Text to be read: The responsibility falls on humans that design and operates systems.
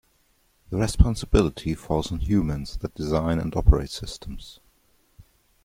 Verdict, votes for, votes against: rejected, 1, 2